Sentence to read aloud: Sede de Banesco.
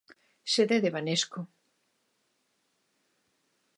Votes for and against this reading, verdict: 2, 0, accepted